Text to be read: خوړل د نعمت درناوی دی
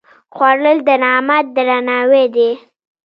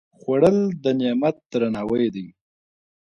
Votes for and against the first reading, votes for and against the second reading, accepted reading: 0, 2, 2, 0, second